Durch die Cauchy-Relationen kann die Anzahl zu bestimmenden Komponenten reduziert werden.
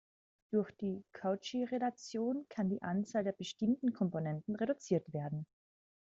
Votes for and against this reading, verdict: 0, 2, rejected